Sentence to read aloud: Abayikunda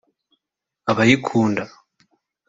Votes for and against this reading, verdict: 4, 0, accepted